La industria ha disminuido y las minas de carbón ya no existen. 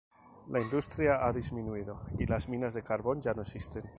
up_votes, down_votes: 2, 2